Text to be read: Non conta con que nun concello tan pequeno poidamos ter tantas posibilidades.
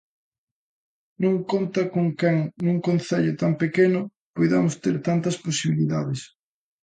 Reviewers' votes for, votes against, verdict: 0, 2, rejected